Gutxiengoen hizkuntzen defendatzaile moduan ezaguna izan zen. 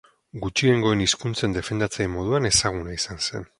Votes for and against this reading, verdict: 2, 0, accepted